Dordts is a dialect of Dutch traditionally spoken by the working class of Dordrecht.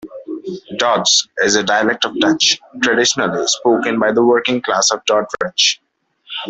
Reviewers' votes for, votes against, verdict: 0, 2, rejected